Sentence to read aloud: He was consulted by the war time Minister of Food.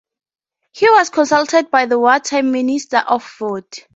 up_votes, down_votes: 4, 0